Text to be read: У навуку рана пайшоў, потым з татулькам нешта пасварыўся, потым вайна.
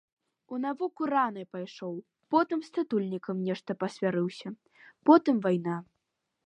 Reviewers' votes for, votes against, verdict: 2, 1, accepted